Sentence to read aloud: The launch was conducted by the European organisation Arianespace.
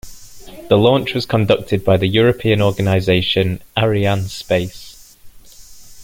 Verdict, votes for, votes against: accepted, 2, 0